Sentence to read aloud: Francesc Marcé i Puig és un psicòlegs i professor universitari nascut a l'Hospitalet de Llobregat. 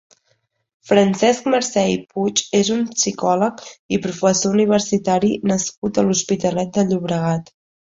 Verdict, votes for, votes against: accepted, 2, 1